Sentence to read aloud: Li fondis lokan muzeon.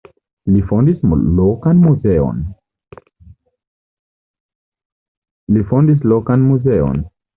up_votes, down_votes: 1, 2